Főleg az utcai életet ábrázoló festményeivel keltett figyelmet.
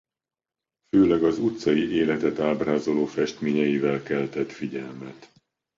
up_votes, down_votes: 2, 0